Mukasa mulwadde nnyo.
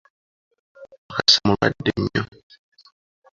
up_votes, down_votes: 1, 2